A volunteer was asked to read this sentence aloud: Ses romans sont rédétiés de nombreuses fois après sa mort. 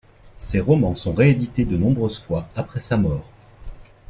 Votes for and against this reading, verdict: 1, 2, rejected